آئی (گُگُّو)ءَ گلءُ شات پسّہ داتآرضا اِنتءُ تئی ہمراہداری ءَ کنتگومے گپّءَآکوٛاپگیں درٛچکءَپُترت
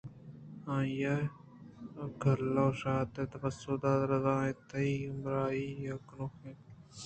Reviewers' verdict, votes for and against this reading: rejected, 0, 2